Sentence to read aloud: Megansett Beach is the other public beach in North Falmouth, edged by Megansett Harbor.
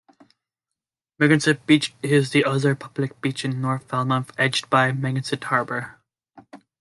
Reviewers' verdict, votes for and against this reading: accepted, 2, 0